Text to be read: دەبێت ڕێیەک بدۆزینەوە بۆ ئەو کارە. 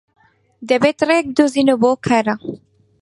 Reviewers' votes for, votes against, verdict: 4, 0, accepted